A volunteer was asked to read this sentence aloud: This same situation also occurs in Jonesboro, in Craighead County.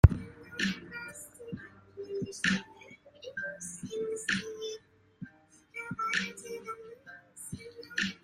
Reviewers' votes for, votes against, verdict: 0, 2, rejected